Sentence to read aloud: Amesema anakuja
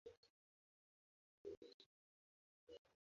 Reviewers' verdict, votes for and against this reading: rejected, 0, 2